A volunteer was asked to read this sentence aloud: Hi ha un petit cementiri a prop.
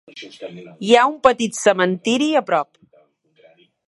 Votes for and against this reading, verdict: 1, 2, rejected